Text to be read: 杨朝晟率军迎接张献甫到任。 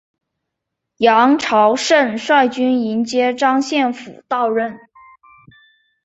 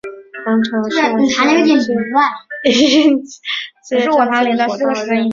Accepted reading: first